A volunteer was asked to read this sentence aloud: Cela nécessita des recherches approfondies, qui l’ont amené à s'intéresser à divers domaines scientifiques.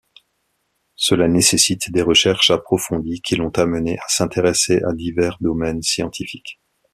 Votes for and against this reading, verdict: 0, 2, rejected